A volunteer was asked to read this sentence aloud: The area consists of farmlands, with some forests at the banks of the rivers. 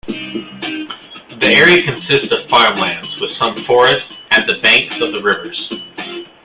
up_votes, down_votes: 2, 1